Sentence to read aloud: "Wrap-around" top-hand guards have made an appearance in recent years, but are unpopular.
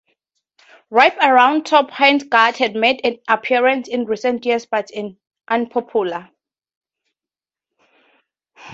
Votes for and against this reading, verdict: 2, 2, rejected